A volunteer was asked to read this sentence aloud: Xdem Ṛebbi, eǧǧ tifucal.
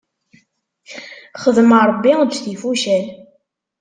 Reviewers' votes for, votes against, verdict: 2, 0, accepted